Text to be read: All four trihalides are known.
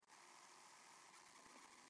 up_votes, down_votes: 0, 2